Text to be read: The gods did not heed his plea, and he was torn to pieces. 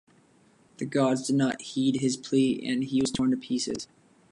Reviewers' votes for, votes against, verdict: 2, 0, accepted